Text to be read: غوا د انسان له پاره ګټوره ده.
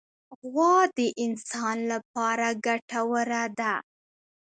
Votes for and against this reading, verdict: 2, 0, accepted